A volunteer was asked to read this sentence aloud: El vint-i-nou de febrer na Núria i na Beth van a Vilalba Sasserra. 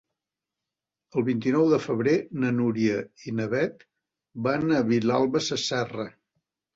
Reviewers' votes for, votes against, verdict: 4, 1, accepted